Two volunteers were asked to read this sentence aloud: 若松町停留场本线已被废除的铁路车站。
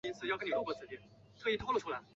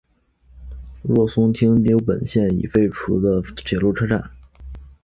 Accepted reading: second